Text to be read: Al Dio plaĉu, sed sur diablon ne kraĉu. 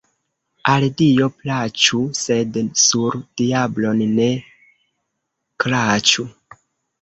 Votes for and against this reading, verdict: 0, 2, rejected